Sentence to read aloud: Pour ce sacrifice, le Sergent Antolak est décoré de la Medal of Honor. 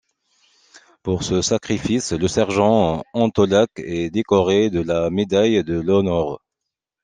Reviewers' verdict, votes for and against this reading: rejected, 1, 2